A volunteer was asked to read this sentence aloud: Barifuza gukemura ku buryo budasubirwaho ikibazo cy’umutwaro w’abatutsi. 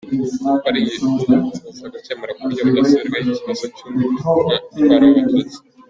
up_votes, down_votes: 1, 2